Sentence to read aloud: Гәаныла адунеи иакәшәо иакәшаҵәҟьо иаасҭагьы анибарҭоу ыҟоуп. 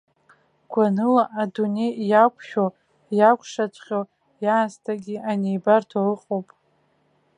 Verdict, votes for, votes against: accepted, 2, 1